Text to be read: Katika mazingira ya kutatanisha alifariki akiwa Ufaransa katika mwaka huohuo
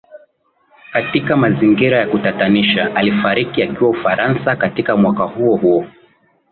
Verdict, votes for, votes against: accepted, 2, 0